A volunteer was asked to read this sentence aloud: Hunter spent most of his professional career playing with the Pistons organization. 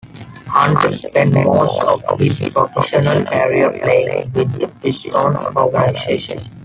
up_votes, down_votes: 0, 2